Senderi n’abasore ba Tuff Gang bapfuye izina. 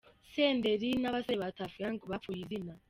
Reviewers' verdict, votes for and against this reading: accepted, 2, 0